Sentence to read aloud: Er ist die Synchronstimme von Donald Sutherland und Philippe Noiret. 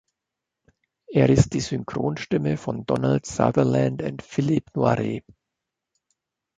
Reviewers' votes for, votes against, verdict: 1, 2, rejected